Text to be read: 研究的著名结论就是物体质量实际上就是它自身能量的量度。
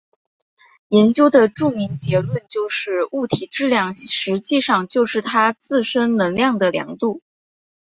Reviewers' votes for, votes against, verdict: 6, 0, accepted